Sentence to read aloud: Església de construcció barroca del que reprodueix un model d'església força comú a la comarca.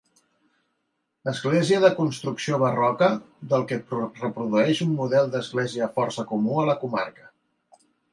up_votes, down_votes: 0, 2